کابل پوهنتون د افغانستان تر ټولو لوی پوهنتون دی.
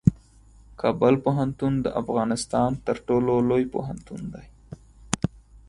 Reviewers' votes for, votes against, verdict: 4, 0, accepted